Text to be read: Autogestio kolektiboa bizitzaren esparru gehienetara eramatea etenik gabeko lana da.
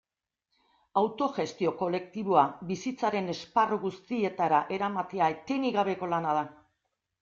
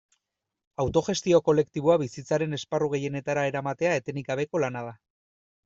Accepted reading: second